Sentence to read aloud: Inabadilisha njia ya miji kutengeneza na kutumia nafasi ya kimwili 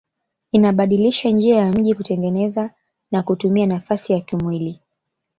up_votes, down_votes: 1, 2